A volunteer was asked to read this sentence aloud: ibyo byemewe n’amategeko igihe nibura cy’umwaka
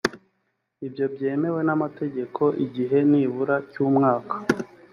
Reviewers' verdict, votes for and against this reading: accepted, 2, 0